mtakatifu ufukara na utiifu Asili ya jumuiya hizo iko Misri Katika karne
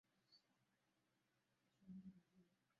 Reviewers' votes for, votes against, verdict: 0, 2, rejected